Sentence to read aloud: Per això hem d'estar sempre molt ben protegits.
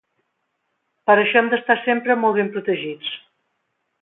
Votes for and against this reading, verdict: 2, 0, accepted